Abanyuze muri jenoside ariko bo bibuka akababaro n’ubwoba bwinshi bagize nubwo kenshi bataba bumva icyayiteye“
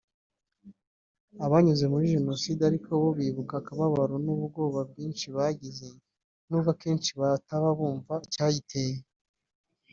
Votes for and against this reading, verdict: 1, 2, rejected